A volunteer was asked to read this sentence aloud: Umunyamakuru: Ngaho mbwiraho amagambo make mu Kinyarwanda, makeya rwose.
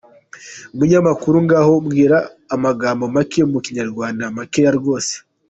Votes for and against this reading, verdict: 0, 2, rejected